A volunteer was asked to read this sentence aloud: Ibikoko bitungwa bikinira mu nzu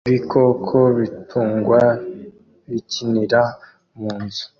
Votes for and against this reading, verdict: 2, 0, accepted